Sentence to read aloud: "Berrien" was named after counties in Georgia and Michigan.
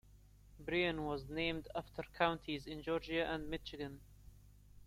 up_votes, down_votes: 2, 0